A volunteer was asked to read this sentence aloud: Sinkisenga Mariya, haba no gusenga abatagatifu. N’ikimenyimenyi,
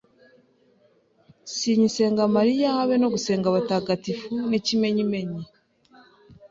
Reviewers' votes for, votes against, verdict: 1, 2, rejected